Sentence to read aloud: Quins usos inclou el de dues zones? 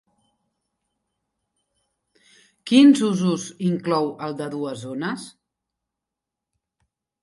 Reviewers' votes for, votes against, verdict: 3, 1, accepted